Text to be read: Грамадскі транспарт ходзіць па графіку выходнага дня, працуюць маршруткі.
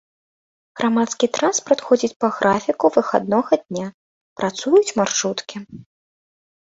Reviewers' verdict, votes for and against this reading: rejected, 0, 2